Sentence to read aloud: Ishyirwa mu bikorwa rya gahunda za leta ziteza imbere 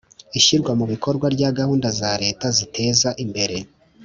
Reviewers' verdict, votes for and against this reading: accepted, 3, 0